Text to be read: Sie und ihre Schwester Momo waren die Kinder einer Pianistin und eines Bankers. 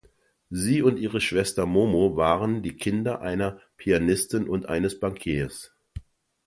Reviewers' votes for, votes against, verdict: 0, 2, rejected